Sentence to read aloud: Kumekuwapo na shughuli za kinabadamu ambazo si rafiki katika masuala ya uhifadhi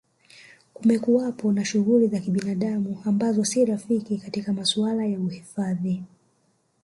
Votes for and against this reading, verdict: 3, 2, accepted